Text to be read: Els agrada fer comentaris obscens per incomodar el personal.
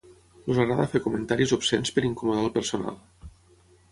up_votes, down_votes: 6, 3